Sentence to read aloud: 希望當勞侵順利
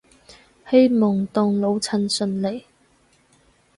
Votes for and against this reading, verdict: 2, 2, rejected